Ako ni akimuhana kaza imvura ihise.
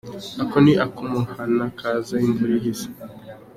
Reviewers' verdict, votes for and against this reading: accepted, 2, 0